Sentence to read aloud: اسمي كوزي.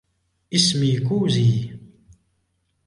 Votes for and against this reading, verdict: 1, 2, rejected